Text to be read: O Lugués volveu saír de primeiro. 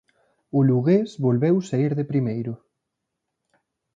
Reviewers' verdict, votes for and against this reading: accepted, 3, 0